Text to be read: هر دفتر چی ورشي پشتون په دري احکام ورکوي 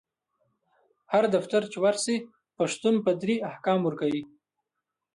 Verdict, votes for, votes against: accepted, 2, 1